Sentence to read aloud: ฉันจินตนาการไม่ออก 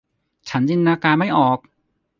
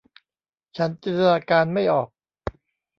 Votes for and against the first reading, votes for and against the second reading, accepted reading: 2, 0, 1, 2, first